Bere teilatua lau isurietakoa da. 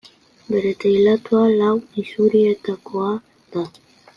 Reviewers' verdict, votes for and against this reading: accepted, 2, 0